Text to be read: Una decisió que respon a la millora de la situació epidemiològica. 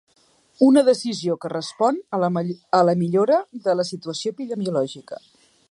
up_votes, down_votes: 2, 4